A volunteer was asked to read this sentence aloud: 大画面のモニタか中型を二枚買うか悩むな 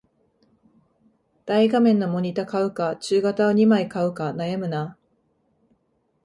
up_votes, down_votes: 1, 2